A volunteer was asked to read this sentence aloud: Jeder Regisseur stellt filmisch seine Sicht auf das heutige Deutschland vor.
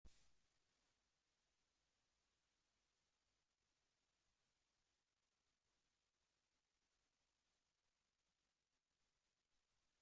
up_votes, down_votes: 0, 2